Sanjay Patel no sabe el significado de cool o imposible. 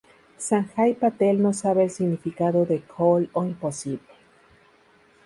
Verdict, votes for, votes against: rejected, 0, 4